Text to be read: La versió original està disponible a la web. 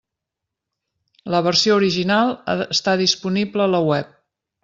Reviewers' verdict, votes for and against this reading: rejected, 0, 2